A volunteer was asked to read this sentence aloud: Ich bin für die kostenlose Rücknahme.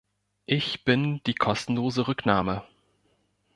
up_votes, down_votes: 0, 2